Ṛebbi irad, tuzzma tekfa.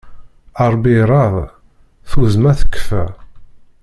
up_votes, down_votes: 0, 2